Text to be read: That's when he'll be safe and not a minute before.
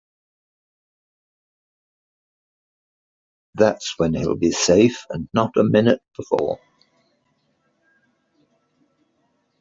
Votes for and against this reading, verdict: 2, 1, accepted